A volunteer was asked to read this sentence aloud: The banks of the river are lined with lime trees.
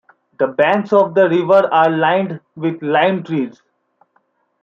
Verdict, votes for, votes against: accepted, 2, 0